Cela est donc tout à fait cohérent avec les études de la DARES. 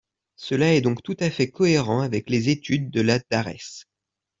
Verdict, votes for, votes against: accepted, 2, 0